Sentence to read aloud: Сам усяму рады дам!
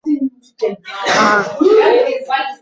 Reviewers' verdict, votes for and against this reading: rejected, 1, 2